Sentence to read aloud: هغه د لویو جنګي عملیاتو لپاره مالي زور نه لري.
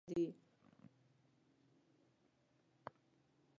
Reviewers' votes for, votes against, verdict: 1, 2, rejected